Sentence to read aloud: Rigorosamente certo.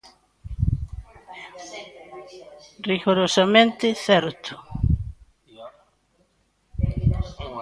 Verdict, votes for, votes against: rejected, 0, 2